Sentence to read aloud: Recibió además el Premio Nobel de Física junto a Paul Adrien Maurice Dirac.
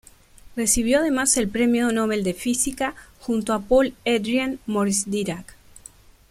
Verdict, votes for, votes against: rejected, 1, 2